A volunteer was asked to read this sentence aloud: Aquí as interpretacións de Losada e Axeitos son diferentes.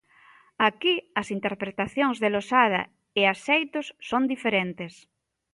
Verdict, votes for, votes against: accepted, 2, 0